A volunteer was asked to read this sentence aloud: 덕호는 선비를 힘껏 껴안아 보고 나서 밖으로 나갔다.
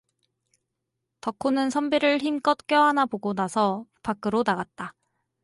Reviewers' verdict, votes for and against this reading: accepted, 4, 0